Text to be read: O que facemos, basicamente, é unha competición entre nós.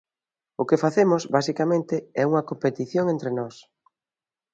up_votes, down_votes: 2, 0